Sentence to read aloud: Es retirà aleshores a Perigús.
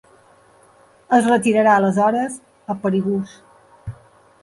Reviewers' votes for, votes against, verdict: 1, 2, rejected